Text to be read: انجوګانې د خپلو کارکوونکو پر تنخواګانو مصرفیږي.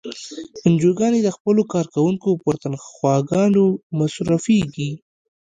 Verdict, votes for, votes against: rejected, 0, 2